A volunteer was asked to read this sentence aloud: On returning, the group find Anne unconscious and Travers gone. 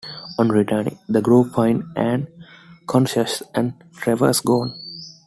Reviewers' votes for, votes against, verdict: 0, 2, rejected